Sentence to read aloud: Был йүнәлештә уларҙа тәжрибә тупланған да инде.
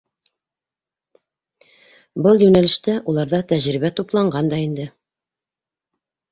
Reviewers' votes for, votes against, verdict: 2, 0, accepted